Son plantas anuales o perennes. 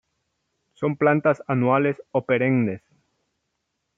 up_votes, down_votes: 2, 0